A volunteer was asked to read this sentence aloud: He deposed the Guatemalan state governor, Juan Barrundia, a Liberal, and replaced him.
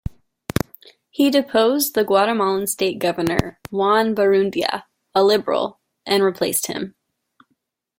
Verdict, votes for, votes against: accepted, 2, 0